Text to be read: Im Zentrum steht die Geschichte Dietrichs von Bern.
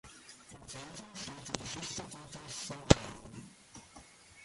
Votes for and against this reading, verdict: 0, 2, rejected